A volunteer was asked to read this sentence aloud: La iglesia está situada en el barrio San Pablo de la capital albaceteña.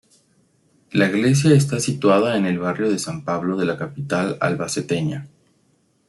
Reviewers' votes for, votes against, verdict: 1, 2, rejected